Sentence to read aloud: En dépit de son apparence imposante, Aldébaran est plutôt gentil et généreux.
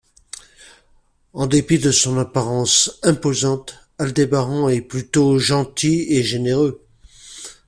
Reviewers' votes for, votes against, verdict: 2, 0, accepted